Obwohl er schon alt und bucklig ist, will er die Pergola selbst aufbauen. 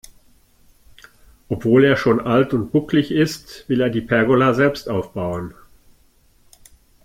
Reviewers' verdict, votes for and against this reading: accepted, 2, 0